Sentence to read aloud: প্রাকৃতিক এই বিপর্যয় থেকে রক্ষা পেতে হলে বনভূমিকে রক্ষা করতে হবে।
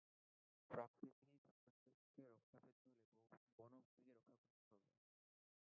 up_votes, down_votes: 0, 2